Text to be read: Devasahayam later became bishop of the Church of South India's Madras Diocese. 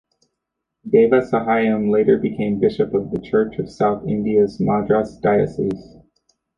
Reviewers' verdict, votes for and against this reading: rejected, 0, 2